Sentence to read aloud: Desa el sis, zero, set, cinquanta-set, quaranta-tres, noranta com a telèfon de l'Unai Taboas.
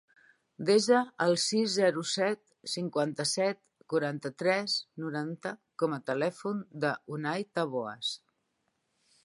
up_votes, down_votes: 0, 2